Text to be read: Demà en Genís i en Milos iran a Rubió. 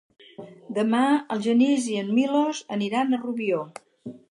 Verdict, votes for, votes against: rejected, 0, 4